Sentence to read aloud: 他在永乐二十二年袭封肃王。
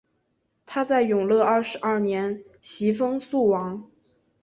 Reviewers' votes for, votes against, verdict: 2, 0, accepted